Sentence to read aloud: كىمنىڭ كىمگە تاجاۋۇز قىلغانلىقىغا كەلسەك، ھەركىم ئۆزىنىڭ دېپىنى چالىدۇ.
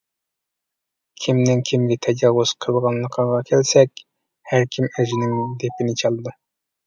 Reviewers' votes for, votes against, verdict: 0, 2, rejected